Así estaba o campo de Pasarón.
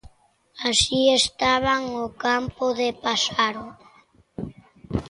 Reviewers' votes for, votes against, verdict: 0, 2, rejected